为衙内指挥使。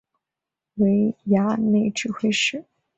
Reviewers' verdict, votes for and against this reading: accepted, 2, 0